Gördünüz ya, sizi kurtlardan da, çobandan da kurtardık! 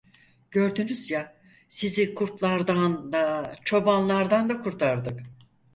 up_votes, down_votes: 0, 4